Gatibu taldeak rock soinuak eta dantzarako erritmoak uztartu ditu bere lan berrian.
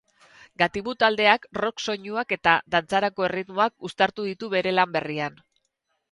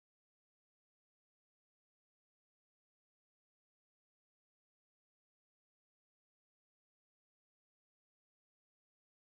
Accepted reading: first